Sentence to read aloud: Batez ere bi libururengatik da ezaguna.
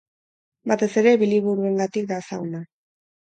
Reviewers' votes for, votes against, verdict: 4, 0, accepted